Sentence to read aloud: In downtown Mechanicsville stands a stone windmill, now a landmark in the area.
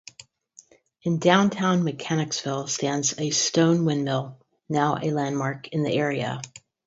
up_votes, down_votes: 2, 2